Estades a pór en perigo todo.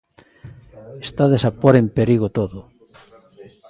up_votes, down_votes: 2, 0